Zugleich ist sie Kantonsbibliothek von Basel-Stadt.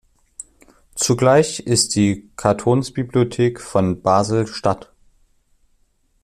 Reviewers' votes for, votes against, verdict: 0, 2, rejected